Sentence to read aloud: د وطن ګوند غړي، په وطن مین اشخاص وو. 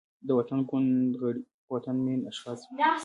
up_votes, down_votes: 1, 3